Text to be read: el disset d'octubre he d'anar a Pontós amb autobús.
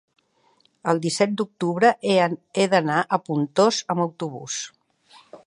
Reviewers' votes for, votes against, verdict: 1, 2, rejected